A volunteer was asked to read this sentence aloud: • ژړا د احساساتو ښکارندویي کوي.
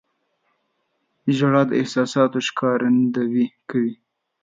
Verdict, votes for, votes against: rejected, 1, 2